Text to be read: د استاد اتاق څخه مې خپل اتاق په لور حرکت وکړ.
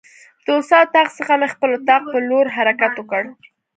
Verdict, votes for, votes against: accepted, 2, 0